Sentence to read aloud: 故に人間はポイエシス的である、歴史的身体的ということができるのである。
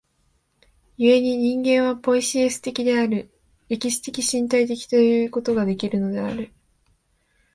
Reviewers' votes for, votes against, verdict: 2, 0, accepted